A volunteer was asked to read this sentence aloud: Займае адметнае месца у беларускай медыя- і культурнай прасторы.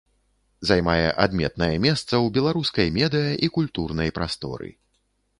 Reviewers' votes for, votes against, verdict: 2, 0, accepted